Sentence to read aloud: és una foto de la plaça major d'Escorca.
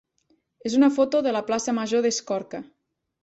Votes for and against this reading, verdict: 3, 0, accepted